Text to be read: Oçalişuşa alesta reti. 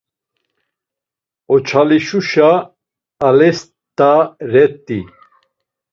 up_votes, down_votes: 1, 2